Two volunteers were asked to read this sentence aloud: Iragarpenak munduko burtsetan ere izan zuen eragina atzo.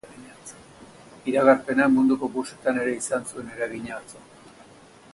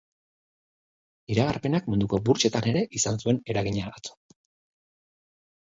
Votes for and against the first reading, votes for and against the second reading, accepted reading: 0, 2, 2, 0, second